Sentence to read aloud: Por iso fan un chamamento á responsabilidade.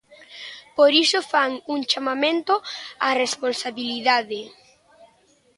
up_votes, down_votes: 3, 0